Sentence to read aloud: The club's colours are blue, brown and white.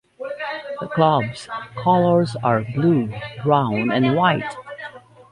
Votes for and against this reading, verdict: 2, 1, accepted